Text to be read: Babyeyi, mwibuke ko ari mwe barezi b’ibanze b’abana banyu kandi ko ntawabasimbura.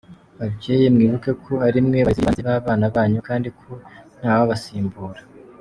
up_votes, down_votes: 1, 2